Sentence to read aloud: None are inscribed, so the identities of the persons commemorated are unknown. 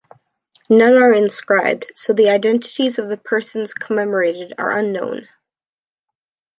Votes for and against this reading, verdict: 1, 2, rejected